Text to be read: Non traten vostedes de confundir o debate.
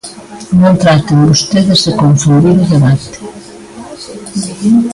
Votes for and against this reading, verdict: 0, 2, rejected